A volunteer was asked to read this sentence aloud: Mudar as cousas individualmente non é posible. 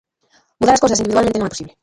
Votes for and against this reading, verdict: 0, 2, rejected